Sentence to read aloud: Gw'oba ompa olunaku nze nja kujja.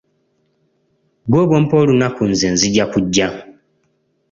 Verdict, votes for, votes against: rejected, 1, 2